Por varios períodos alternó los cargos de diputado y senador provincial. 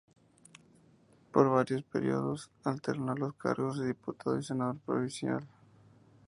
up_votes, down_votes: 2, 0